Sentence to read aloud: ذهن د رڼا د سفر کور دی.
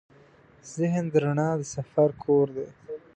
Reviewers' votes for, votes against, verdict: 2, 0, accepted